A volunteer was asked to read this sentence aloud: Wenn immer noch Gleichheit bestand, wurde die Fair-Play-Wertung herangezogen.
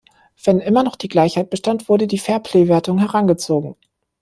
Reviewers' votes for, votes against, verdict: 0, 2, rejected